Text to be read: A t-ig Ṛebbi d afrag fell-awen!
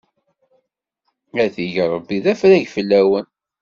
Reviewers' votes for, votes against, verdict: 2, 0, accepted